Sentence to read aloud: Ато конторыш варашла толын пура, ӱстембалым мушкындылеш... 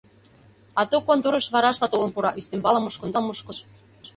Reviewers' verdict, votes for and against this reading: rejected, 0, 2